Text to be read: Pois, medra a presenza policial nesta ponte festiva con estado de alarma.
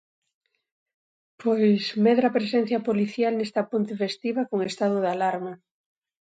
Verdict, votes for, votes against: rejected, 1, 2